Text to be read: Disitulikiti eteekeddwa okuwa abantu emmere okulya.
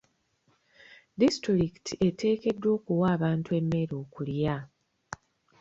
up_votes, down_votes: 2, 0